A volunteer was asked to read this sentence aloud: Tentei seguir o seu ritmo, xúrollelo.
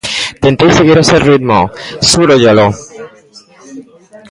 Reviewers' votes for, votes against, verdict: 1, 2, rejected